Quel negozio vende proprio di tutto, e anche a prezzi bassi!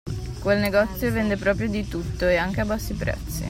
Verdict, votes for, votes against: rejected, 1, 2